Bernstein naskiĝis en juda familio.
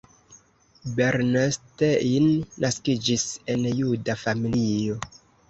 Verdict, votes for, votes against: accepted, 2, 0